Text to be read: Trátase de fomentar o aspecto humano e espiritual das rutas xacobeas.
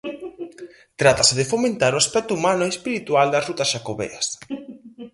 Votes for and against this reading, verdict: 0, 4, rejected